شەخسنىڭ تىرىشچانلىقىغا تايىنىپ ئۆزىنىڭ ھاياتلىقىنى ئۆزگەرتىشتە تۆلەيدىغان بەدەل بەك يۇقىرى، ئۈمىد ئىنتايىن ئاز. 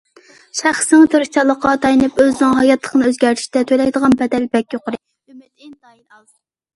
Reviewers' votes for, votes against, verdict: 1, 2, rejected